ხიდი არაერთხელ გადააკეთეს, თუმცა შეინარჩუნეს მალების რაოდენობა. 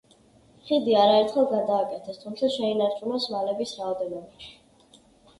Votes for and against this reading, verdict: 2, 0, accepted